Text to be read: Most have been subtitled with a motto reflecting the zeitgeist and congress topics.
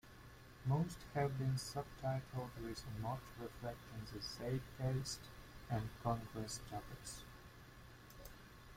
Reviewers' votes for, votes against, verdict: 2, 1, accepted